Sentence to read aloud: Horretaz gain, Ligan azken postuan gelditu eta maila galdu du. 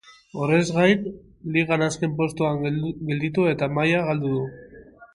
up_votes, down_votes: 0, 2